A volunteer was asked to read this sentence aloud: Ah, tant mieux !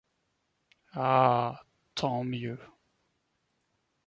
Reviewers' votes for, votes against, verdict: 2, 1, accepted